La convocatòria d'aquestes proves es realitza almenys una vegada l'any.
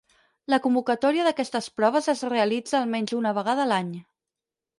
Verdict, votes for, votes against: accepted, 4, 0